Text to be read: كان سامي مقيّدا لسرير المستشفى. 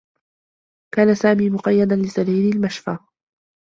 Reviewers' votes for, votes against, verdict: 0, 2, rejected